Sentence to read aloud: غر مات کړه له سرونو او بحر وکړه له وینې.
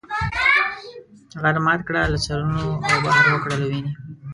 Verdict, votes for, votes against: rejected, 1, 2